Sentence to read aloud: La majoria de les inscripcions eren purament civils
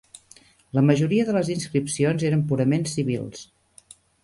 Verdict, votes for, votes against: accepted, 3, 0